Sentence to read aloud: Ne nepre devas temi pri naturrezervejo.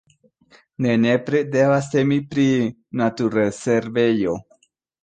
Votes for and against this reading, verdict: 2, 0, accepted